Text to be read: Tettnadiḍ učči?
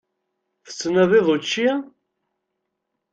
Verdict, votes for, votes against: accepted, 2, 0